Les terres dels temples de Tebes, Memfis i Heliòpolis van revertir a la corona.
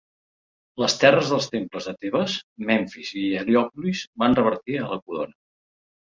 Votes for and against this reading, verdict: 2, 0, accepted